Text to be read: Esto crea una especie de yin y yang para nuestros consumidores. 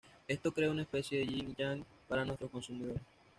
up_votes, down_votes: 2, 0